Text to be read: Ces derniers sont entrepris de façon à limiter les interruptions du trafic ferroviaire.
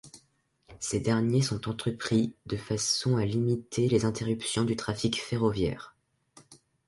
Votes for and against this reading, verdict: 3, 0, accepted